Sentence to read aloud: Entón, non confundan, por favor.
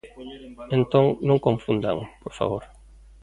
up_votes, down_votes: 2, 0